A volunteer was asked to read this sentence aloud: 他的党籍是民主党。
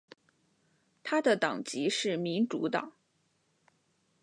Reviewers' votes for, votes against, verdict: 2, 0, accepted